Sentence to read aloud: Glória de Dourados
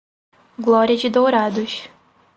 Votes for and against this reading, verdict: 2, 2, rejected